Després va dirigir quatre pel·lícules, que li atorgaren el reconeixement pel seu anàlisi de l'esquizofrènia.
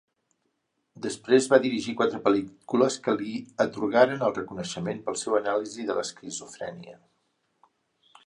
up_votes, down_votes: 0, 4